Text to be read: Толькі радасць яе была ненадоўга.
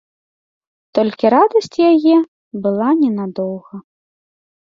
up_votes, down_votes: 2, 0